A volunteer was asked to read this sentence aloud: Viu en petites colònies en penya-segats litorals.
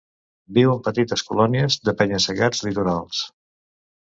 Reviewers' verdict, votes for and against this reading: rejected, 0, 2